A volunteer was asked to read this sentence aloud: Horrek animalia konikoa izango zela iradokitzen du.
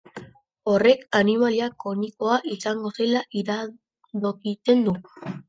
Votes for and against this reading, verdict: 0, 2, rejected